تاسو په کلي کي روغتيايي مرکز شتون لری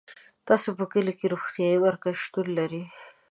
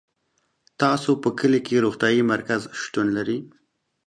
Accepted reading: second